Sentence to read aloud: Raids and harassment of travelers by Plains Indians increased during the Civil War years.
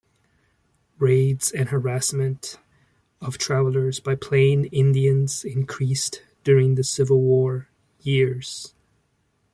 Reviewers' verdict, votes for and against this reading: rejected, 1, 2